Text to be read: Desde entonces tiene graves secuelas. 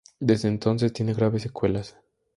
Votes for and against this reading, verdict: 2, 0, accepted